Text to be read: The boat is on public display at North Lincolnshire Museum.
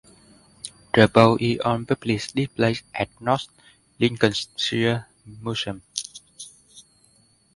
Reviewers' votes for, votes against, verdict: 0, 2, rejected